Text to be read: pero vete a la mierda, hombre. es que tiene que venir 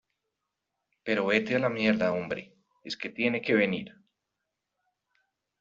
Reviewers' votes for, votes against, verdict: 2, 0, accepted